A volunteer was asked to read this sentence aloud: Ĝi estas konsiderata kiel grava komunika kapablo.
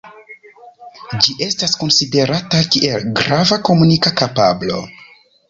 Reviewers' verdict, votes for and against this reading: rejected, 0, 2